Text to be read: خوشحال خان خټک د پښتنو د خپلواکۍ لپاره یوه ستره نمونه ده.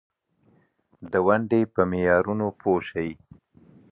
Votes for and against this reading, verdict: 0, 2, rejected